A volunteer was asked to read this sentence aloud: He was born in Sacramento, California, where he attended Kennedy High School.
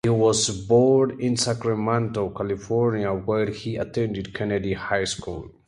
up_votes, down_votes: 2, 0